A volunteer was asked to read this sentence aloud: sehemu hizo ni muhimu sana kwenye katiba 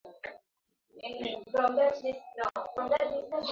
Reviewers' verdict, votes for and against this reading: rejected, 0, 2